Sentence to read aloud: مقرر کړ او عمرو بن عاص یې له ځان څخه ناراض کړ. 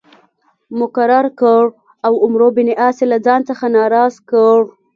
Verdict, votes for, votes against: rejected, 1, 2